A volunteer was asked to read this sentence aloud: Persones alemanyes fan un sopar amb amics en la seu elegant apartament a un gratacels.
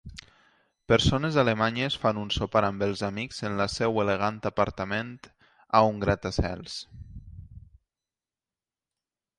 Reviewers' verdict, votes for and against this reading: rejected, 1, 2